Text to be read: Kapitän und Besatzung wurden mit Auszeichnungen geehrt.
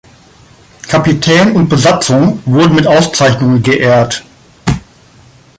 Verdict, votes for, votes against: rejected, 2, 3